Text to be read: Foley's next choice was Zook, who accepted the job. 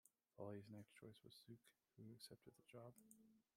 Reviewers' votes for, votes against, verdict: 2, 1, accepted